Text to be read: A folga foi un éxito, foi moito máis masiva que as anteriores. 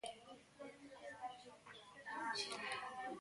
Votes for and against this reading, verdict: 0, 2, rejected